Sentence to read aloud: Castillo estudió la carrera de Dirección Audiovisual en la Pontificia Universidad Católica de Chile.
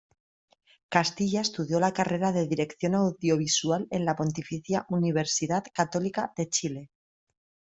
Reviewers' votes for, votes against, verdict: 1, 2, rejected